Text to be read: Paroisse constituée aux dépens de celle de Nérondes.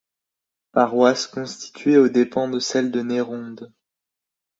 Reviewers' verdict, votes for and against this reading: accepted, 2, 1